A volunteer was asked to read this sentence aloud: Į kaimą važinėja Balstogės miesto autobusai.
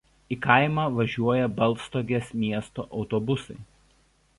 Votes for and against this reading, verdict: 1, 2, rejected